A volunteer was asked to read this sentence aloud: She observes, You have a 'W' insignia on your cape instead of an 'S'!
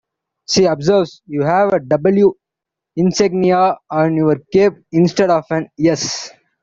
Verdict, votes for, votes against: rejected, 1, 2